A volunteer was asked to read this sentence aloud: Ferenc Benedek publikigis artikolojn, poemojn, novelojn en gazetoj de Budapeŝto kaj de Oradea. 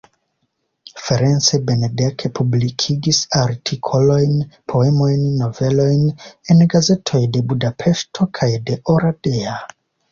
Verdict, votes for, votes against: accepted, 2, 0